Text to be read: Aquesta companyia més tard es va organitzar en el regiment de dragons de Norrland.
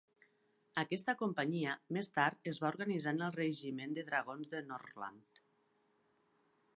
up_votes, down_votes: 2, 0